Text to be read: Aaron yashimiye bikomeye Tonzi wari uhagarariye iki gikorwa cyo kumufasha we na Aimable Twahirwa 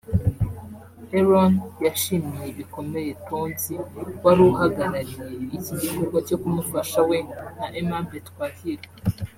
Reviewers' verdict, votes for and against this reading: accepted, 3, 0